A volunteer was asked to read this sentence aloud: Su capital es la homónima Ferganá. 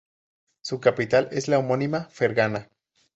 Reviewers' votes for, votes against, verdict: 2, 0, accepted